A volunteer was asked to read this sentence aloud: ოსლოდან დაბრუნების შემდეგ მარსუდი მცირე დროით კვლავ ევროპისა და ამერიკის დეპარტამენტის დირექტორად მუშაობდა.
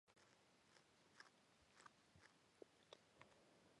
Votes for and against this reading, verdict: 1, 2, rejected